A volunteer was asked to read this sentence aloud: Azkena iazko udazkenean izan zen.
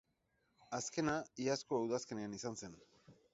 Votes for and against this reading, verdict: 6, 0, accepted